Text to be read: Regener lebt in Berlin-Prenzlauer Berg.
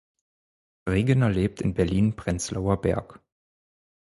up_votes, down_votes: 4, 0